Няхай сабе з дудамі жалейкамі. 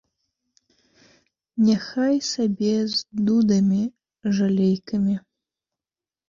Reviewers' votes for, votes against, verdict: 2, 0, accepted